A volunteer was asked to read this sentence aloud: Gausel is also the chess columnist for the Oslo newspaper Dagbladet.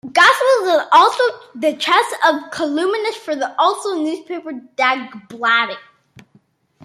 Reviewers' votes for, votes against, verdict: 1, 2, rejected